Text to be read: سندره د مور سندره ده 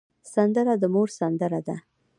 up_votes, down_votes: 1, 2